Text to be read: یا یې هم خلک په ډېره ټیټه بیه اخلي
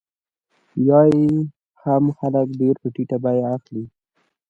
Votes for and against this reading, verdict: 2, 0, accepted